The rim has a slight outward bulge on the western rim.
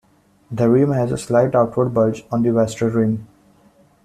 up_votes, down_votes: 2, 0